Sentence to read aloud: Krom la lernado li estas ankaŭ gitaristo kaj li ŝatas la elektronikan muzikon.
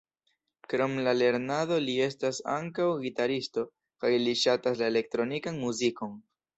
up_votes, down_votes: 2, 0